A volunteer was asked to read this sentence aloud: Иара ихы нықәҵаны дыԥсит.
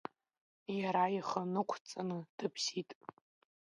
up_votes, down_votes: 1, 2